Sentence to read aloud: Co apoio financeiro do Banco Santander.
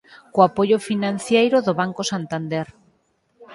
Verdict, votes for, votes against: rejected, 0, 4